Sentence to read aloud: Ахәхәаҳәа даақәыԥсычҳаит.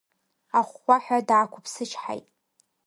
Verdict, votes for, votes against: rejected, 0, 2